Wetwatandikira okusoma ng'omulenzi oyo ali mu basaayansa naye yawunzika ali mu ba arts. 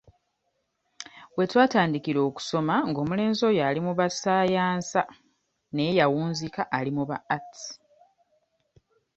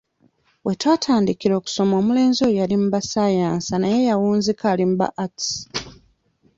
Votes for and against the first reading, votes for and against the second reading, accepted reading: 2, 0, 1, 2, first